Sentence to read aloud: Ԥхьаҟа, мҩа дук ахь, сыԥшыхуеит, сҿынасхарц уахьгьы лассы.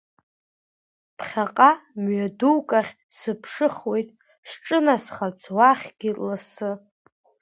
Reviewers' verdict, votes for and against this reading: accepted, 2, 1